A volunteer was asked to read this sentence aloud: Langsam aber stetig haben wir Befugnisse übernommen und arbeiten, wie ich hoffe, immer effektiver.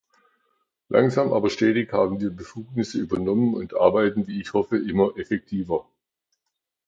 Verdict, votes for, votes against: accepted, 2, 0